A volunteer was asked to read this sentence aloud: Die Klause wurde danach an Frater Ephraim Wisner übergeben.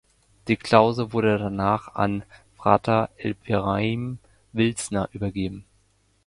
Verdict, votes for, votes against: rejected, 0, 2